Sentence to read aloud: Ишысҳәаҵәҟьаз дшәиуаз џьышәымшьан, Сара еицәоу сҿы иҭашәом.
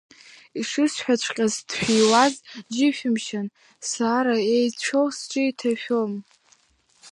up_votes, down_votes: 0, 2